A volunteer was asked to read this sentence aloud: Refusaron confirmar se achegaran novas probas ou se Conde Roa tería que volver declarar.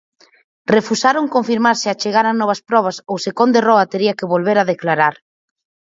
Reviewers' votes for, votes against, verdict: 0, 4, rejected